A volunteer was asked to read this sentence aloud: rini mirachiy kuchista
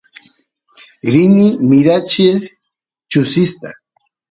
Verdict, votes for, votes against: rejected, 1, 2